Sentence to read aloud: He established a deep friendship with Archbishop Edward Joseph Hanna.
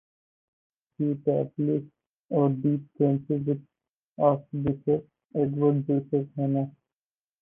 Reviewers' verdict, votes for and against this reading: rejected, 0, 4